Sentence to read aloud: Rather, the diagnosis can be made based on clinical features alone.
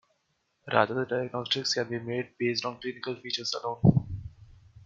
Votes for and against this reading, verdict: 0, 2, rejected